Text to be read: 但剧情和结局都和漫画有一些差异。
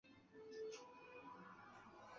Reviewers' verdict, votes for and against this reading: rejected, 0, 2